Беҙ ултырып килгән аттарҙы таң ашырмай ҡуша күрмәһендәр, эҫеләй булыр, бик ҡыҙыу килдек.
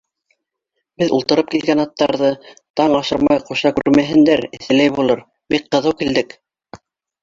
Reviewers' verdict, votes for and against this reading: rejected, 0, 2